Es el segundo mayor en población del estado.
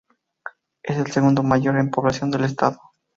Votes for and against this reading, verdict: 2, 2, rejected